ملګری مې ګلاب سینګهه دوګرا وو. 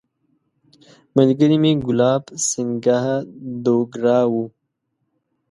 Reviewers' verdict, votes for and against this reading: accepted, 2, 0